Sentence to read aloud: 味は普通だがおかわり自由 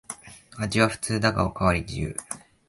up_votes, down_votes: 2, 0